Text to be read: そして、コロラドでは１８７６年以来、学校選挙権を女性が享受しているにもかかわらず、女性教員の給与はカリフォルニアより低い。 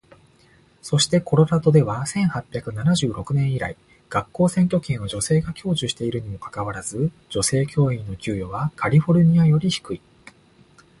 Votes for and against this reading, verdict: 0, 2, rejected